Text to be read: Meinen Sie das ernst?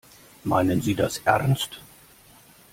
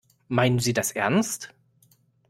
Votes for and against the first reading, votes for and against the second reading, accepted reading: 0, 2, 2, 0, second